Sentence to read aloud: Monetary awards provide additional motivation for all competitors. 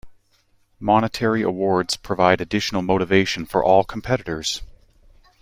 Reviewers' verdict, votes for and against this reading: accepted, 2, 1